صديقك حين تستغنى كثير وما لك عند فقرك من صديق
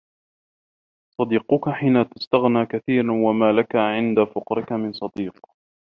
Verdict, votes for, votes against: rejected, 1, 2